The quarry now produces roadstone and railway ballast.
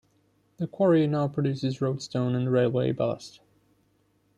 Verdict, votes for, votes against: accepted, 2, 0